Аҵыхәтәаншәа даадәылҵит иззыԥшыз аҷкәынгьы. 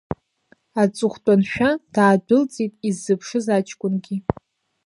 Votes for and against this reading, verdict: 2, 0, accepted